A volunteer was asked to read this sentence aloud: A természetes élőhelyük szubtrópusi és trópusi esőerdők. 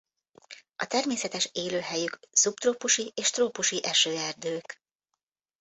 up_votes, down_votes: 2, 0